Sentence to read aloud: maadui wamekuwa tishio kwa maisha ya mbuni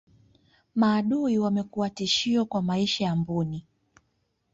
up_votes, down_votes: 2, 0